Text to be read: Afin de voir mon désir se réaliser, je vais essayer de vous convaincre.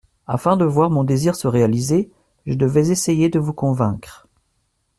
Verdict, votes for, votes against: rejected, 1, 2